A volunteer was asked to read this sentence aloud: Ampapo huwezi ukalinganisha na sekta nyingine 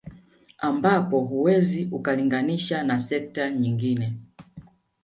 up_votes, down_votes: 3, 1